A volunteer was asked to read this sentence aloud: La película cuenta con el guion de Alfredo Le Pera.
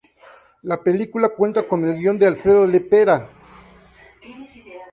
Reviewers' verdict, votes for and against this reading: rejected, 0, 2